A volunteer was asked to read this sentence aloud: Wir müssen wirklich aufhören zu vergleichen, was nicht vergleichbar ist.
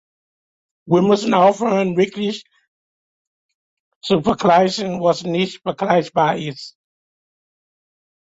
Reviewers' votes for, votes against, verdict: 0, 3, rejected